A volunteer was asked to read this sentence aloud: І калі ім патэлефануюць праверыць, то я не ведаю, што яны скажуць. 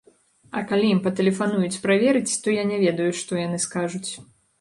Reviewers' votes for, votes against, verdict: 0, 2, rejected